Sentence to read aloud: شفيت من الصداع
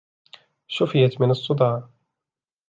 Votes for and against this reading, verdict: 2, 0, accepted